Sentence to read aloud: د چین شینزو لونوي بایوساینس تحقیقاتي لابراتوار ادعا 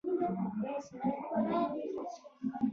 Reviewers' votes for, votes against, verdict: 1, 3, rejected